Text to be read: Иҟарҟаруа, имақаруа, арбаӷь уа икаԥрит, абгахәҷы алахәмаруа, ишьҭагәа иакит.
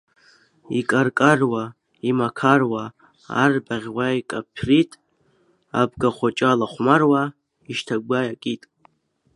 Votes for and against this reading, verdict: 1, 2, rejected